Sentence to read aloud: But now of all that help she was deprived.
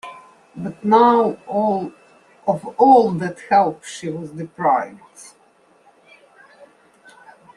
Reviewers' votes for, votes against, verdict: 1, 2, rejected